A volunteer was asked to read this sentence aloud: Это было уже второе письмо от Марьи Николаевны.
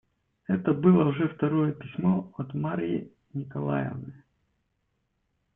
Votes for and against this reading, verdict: 2, 1, accepted